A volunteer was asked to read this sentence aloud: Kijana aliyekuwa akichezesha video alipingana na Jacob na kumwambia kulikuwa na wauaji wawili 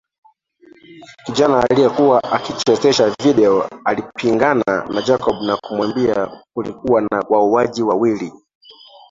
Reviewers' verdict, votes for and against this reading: rejected, 1, 2